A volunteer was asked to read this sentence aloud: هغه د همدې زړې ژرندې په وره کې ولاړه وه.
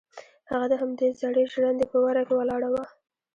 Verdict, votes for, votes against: accepted, 2, 0